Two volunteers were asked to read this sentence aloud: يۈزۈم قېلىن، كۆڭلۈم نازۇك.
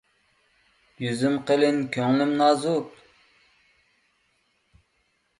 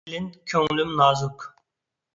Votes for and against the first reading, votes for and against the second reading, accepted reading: 3, 0, 0, 2, first